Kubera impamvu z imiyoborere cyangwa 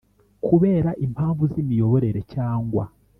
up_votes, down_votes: 3, 0